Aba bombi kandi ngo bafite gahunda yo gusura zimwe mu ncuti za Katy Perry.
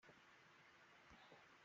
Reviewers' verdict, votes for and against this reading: rejected, 0, 2